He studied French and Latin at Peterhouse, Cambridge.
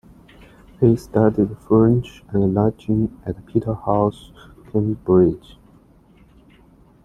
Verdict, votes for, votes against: accepted, 2, 0